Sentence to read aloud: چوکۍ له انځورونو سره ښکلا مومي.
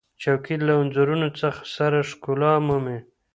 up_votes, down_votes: 2, 0